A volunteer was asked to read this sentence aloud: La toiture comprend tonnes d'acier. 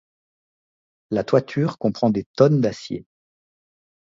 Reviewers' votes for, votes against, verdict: 2, 0, accepted